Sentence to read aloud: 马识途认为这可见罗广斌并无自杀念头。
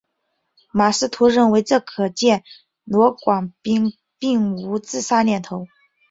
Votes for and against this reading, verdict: 3, 0, accepted